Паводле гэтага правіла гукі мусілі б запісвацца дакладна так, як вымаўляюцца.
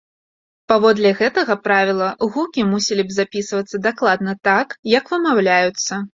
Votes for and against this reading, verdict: 2, 0, accepted